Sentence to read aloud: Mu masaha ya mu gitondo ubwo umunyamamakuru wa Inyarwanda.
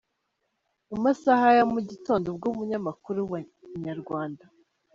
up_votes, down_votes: 2, 0